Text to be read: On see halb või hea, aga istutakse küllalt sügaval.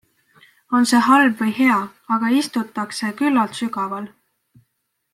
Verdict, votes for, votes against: accepted, 2, 0